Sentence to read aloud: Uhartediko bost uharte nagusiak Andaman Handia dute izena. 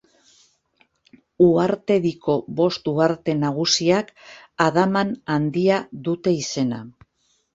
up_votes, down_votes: 0, 2